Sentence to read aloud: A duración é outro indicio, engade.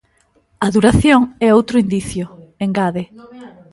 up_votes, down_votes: 1, 2